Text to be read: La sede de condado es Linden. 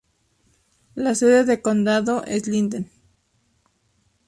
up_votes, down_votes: 4, 0